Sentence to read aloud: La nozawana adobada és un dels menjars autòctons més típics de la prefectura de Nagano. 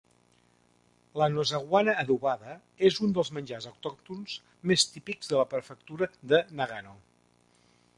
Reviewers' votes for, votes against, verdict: 2, 0, accepted